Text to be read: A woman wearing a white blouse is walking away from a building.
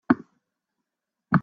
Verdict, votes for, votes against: rejected, 0, 2